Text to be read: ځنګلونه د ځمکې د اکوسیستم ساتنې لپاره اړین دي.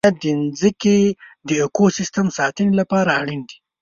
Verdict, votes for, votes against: rejected, 1, 2